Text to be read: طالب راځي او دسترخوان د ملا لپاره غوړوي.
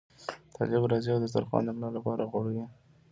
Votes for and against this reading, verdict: 2, 1, accepted